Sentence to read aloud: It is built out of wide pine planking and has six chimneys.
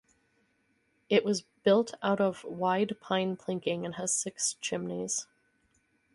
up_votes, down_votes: 0, 2